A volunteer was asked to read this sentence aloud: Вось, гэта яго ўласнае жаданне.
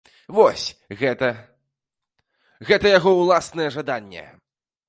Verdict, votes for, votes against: rejected, 0, 2